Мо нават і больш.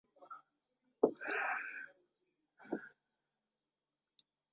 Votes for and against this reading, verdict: 0, 2, rejected